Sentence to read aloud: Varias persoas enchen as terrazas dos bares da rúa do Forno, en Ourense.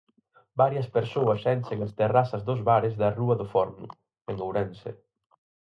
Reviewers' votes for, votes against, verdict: 4, 0, accepted